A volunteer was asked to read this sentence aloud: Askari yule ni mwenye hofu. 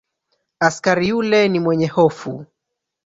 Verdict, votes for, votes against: rejected, 0, 2